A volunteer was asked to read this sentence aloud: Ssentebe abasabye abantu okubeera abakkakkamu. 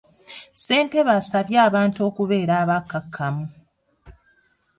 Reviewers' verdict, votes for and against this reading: rejected, 0, 2